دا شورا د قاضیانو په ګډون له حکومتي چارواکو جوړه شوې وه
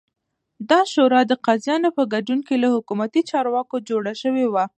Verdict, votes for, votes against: accepted, 2, 1